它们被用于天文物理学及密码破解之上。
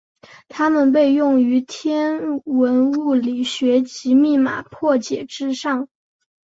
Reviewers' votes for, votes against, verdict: 3, 0, accepted